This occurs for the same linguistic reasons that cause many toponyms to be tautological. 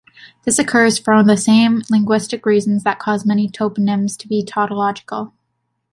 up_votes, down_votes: 2, 0